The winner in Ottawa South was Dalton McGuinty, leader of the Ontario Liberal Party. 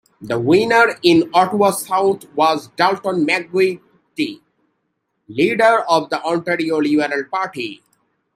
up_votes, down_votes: 0, 2